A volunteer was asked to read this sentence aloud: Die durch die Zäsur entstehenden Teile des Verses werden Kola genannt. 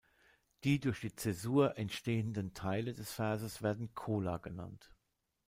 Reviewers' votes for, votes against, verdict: 1, 2, rejected